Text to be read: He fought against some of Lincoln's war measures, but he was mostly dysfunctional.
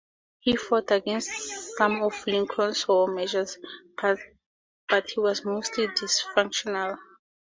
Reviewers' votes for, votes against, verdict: 4, 0, accepted